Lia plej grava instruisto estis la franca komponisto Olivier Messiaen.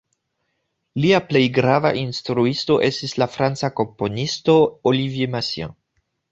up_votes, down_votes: 2, 0